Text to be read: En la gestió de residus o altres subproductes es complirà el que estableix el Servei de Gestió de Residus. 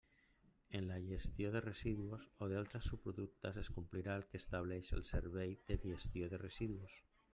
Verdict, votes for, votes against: rejected, 0, 2